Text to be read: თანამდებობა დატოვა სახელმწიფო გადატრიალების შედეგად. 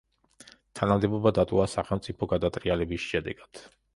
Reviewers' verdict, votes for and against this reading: accepted, 2, 0